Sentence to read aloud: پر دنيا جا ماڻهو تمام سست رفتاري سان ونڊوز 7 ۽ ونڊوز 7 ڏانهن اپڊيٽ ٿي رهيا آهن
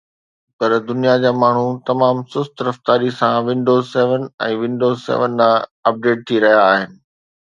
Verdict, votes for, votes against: rejected, 0, 2